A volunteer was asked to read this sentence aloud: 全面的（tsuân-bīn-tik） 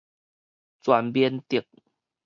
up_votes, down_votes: 2, 2